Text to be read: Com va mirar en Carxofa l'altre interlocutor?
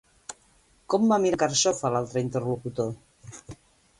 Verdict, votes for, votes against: rejected, 0, 2